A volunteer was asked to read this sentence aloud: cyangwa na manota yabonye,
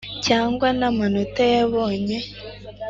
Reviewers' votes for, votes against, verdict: 2, 0, accepted